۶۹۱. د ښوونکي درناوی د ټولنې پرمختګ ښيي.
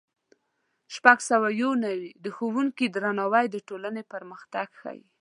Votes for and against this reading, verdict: 0, 2, rejected